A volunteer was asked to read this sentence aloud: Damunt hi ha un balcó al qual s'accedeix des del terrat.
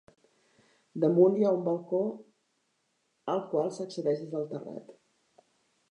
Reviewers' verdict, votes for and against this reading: rejected, 1, 2